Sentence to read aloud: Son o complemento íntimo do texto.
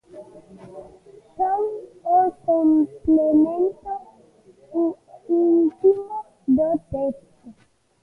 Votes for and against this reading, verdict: 0, 2, rejected